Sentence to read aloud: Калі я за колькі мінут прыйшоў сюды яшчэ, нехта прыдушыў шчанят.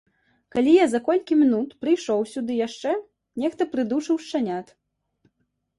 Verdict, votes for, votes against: rejected, 0, 2